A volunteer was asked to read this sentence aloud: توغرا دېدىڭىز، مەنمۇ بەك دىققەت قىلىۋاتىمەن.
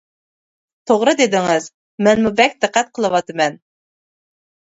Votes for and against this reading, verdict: 2, 0, accepted